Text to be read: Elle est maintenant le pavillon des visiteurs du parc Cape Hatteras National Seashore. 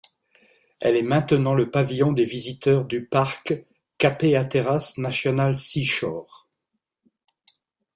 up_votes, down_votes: 1, 2